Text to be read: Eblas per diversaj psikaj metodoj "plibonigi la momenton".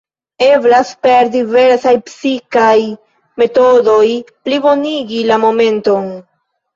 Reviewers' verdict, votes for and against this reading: accepted, 2, 1